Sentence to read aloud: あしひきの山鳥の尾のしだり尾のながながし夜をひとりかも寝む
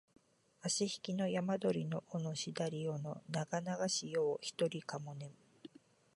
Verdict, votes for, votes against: accepted, 2, 0